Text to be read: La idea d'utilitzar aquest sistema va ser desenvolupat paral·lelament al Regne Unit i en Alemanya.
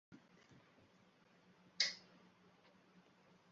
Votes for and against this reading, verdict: 0, 3, rejected